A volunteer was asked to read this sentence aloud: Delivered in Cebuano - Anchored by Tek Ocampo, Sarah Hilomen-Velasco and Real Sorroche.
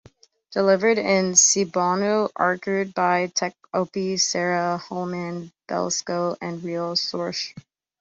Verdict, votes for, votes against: rejected, 0, 3